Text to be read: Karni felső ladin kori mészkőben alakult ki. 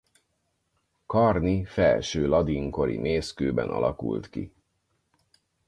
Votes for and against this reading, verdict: 4, 0, accepted